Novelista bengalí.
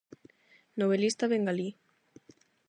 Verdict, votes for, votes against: accepted, 8, 0